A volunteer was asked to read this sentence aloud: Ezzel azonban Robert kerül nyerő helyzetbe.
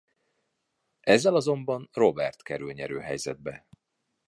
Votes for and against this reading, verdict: 2, 0, accepted